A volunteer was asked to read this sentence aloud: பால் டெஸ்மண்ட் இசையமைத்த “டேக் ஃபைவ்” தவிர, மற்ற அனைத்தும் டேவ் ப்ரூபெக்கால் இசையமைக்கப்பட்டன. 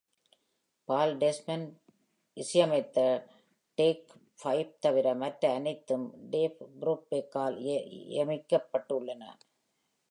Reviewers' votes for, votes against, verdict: 0, 2, rejected